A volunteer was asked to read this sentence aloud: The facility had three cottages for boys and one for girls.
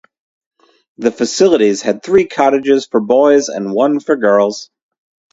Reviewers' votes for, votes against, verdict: 0, 2, rejected